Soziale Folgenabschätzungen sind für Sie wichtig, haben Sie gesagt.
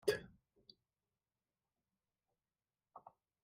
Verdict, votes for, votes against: rejected, 0, 2